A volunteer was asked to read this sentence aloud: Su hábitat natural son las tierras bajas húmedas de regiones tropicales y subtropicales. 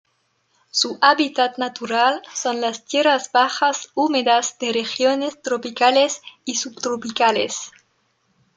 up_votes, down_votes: 2, 0